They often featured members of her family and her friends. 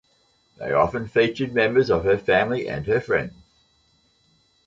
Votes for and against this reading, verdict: 2, 0, accepted